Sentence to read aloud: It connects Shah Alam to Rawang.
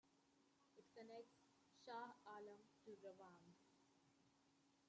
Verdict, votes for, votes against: rejected, 0, 2